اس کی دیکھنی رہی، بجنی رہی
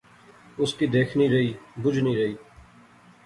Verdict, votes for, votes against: accepted, 2, 0